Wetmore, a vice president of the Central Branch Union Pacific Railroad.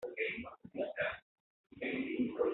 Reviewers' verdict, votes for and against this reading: rejected, 0, 2